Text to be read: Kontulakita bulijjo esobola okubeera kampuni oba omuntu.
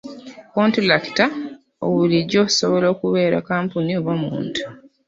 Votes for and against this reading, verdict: 1, 2, rejected